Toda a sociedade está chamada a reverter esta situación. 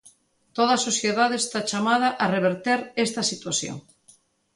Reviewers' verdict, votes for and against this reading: accepted, 2, 0